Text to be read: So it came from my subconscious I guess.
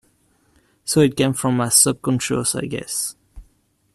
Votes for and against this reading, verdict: 2, 1, accepted